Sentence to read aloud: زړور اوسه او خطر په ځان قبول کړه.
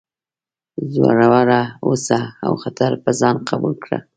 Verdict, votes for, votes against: accepted, 2, 0